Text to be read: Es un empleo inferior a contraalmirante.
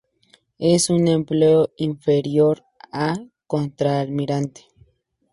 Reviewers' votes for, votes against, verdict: 4, 0, accepted